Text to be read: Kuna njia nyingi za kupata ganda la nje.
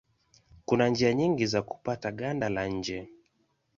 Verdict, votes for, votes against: accepted, 2, 0